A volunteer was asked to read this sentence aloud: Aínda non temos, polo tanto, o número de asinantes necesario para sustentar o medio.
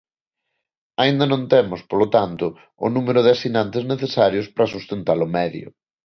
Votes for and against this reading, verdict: 1, 2, rejected